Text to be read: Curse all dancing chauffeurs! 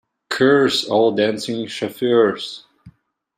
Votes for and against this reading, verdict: 0, 2, rejected